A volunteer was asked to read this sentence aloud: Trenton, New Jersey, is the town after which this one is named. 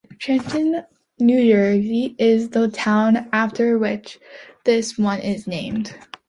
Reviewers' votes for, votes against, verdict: 2, 1, accepted